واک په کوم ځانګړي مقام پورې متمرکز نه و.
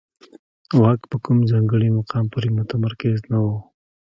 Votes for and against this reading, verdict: 0, 2, rejected